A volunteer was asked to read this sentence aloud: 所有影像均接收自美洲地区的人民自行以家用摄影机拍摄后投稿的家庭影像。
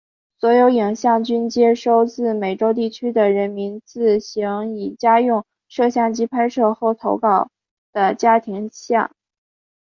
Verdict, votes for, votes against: accepted, 3, 0